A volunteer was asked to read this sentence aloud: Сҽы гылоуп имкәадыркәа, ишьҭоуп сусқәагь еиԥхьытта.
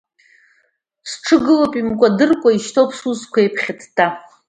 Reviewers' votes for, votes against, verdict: 1, 2, rejected